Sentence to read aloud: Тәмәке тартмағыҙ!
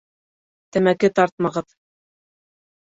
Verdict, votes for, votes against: accepted, 2, 0